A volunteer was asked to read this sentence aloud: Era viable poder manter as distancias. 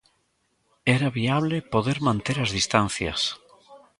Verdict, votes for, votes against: rejected, 1, 2